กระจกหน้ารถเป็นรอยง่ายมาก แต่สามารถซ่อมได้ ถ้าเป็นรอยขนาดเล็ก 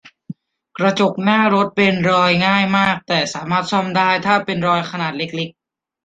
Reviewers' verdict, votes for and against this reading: rejected, 1, 2